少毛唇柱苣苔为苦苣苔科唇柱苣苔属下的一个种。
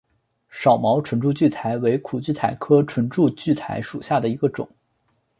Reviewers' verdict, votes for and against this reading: accepted, 2, 1